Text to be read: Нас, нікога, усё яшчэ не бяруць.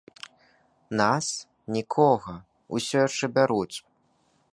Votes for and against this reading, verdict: 0, 2, rejected